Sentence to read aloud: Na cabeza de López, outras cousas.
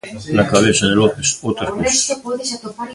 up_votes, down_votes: 1, 2